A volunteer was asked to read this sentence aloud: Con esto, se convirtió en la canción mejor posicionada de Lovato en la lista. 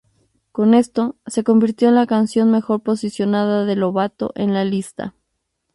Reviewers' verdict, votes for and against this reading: accepted, 4, 0